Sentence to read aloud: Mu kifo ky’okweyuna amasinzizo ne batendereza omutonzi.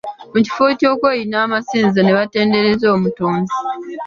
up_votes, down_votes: 3, 0